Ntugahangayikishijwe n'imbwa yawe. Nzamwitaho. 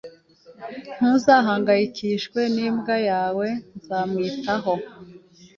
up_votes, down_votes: 2, 0